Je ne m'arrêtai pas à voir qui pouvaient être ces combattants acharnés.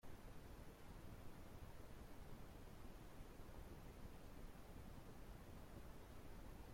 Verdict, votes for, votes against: rejected, 0, 2